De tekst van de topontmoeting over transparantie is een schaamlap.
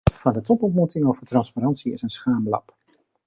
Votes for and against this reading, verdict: 1, 2, rejected